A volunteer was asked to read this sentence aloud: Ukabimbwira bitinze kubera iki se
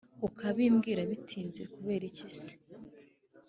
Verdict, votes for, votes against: accepted, 2, 0